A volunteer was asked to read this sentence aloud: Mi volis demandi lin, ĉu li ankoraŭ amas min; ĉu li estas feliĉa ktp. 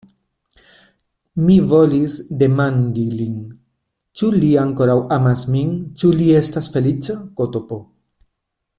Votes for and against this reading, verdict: 2, 0, accepted